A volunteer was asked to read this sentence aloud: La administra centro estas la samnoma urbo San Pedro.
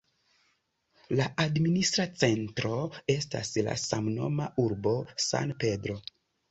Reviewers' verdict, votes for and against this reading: accepted, 2, 0